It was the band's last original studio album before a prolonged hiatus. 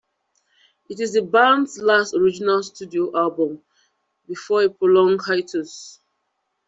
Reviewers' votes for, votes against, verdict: 2, 0, accepted